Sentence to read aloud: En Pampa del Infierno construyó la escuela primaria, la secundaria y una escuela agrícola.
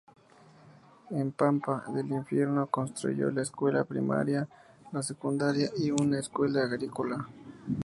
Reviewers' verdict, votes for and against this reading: accepted, 2, 0